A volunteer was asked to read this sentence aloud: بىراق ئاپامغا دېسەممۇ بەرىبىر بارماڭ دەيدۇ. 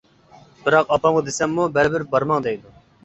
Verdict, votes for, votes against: accepted, 2, 0